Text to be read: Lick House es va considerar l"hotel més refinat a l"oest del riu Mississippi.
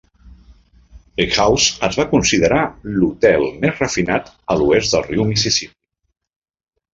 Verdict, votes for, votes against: rejected, 1, 2